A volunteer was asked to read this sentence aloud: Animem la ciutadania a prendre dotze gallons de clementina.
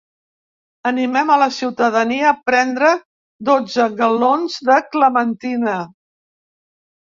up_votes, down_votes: 1, 2